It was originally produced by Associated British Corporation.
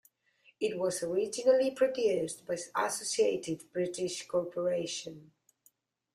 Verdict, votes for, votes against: rejected, 0, 2